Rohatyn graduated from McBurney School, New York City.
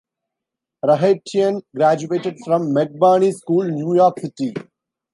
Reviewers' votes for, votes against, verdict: 3, 1, accepted